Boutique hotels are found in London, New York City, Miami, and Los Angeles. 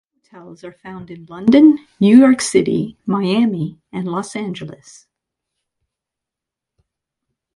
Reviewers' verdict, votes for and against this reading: rejected, 0, 2